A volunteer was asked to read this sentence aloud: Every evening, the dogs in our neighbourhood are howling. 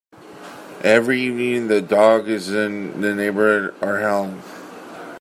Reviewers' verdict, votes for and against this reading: rejected, 0, 2